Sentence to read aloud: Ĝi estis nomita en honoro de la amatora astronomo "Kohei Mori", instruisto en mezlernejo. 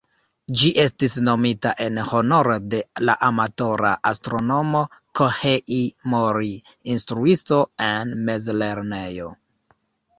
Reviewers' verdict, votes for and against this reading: accepted, 2, 1